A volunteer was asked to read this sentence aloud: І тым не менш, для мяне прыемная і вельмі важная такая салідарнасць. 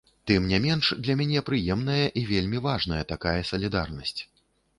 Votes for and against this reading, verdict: 1, 2, rejected